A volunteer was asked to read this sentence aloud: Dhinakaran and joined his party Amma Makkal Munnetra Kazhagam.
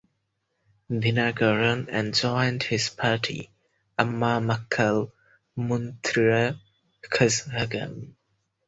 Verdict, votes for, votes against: rejected, 0, 4